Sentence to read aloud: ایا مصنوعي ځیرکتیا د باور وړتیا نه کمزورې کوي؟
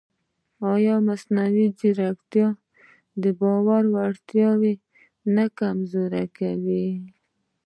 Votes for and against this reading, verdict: 1, 2, rejected